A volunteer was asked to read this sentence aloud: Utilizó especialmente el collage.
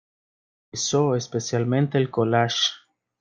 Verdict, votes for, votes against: rejected, 0, 2